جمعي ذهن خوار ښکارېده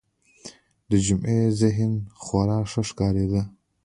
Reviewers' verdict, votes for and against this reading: rejected, 0, 2